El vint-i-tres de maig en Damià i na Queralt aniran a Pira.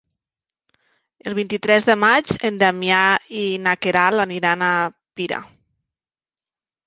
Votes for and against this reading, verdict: 3, 0, accepted